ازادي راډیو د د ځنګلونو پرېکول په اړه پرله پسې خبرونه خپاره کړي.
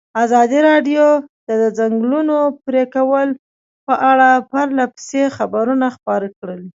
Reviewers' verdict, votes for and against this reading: rejected, 1, 2